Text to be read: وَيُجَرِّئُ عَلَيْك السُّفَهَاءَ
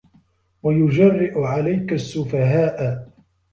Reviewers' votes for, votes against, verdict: 2, 0, accepted